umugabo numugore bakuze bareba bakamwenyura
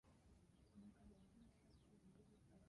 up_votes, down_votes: 0, 2